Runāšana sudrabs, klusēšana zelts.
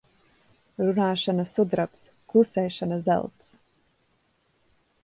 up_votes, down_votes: 1, 2